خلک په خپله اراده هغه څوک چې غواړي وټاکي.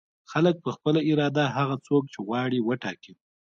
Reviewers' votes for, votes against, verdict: 1, 2, rejected